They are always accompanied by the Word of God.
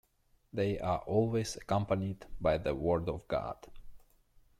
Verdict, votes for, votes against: rejected, 1, 2